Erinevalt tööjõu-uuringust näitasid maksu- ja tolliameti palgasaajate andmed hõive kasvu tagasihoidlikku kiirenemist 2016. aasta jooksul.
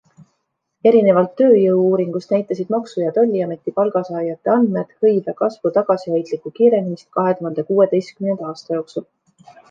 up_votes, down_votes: 0, 2